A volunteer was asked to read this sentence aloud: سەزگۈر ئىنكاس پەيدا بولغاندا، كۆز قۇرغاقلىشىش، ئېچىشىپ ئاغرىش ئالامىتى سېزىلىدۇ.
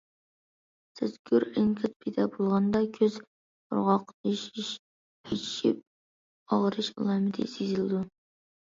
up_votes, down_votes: 1, 2